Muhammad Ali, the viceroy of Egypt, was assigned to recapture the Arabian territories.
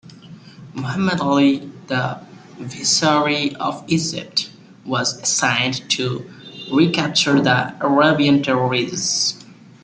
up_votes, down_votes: 0, 2